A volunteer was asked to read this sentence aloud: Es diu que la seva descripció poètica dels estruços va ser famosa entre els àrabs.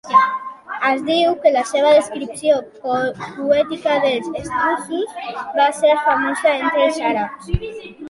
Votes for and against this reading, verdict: 1, 2, rejected